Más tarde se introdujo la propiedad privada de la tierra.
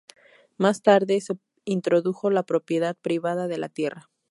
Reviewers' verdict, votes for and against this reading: accepted, 2, 0